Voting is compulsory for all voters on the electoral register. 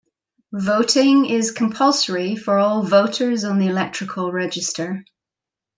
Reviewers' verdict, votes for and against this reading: rejected, 0, 2